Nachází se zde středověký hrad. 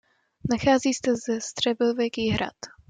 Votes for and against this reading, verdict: 1, 2, rejected